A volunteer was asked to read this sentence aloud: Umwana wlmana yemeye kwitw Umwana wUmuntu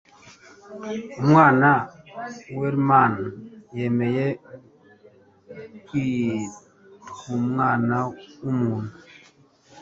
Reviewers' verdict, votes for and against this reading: accepted, 2, 0